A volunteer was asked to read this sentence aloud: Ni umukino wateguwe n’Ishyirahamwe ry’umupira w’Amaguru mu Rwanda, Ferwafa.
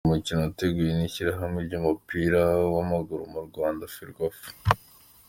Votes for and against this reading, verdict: 2, 0, accepted